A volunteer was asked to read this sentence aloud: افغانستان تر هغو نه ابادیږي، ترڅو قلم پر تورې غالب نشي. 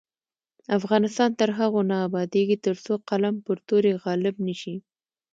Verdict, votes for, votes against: accepted, 2, 0